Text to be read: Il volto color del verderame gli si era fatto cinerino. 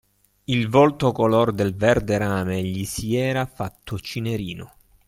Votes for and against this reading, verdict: 2, 0, accepted